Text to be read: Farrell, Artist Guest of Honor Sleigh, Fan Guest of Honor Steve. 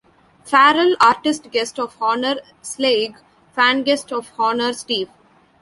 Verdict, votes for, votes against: rejected, 1, 2